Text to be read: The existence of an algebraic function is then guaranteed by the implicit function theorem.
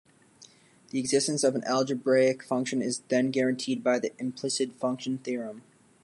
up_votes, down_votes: 2, 0